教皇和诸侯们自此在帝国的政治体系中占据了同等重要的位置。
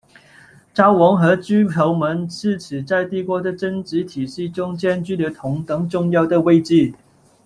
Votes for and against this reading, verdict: 0, 2, rejected